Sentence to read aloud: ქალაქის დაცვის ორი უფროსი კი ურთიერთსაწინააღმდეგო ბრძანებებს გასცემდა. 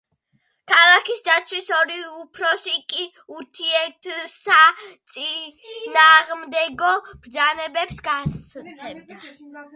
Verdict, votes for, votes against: rejected, 1, 2